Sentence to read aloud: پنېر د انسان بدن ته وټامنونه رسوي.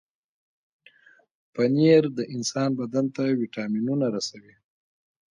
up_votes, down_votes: 0, 2